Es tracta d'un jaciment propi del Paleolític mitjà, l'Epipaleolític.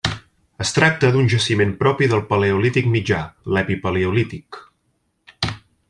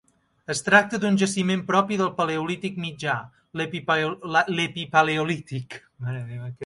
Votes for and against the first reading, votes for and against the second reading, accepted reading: 3, 0, 2, 3, first